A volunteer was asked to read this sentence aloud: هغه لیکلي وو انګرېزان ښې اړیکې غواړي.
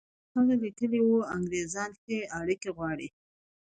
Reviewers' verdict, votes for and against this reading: accepted, 2, 0